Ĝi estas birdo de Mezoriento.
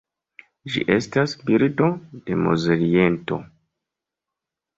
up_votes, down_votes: 0, 2